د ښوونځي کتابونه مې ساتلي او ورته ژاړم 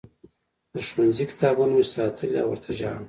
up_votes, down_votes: 2, 1